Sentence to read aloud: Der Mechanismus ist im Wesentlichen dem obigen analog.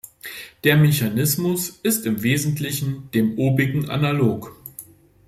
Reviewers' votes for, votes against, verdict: 2, 0, accepted